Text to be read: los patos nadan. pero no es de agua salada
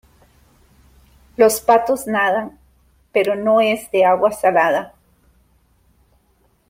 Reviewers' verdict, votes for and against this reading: accepted, 2, 0